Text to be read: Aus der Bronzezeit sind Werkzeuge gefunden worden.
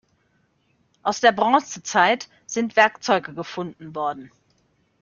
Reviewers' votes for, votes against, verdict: 2, 0, accepted